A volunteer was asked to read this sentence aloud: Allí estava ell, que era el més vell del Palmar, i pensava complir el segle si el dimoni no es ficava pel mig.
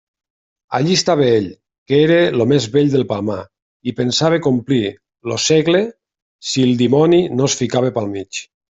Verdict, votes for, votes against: rejected, 0, 2